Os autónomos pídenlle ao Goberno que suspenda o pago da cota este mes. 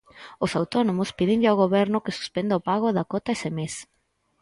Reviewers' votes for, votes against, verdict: 0, 4, rejected